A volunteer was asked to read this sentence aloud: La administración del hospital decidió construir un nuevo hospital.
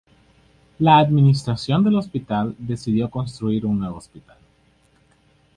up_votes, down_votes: 2, 0